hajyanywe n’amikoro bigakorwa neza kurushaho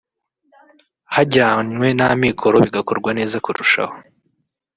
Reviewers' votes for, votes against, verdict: 1, 2, rejected